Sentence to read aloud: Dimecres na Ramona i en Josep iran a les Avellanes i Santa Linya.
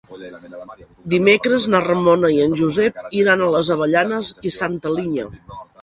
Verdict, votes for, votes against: rejected, 1, 2